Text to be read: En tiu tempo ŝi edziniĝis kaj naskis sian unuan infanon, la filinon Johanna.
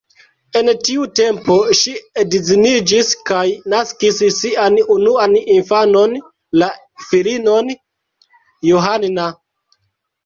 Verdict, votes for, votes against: rejected, 0, 2